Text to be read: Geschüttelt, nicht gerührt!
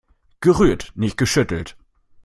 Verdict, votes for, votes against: rejected, 0, 2